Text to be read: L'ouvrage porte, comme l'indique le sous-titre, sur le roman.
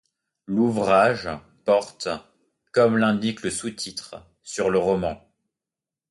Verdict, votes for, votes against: accepted, 2, 0